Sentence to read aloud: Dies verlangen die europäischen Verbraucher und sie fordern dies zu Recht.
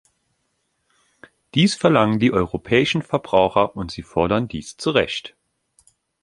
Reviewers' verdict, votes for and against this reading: accepted, 2, 0